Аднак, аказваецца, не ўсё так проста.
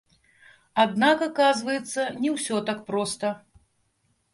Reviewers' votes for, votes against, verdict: 1, 3, rejected